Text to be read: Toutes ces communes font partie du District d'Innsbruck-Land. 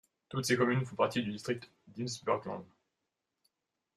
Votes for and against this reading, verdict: 2, 1, accepted